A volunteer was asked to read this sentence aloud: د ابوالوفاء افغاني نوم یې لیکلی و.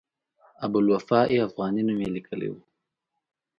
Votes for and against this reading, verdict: 2, 0, accepted